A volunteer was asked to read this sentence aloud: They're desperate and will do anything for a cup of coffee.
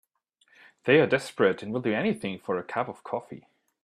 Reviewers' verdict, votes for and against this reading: accepted, 3, 0